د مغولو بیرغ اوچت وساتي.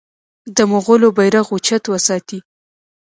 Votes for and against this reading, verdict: 2, 0, accepted